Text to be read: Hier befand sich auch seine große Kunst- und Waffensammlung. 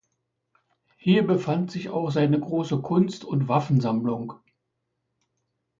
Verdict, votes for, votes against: accepted, 2, 0